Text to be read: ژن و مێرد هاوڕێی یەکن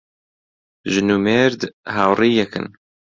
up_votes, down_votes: 2, 0